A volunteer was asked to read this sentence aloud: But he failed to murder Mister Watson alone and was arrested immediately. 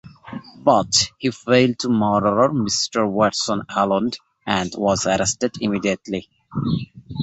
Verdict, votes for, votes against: accepted, 2, 1